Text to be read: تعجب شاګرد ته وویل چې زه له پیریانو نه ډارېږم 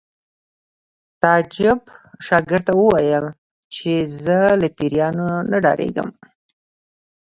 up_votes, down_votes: 2, 0